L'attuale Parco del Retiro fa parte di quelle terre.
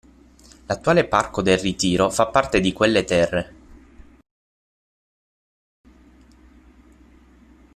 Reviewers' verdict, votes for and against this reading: rejected, 0, 6